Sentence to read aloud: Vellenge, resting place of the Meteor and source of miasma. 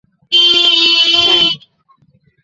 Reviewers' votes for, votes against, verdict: 0, 2, rejected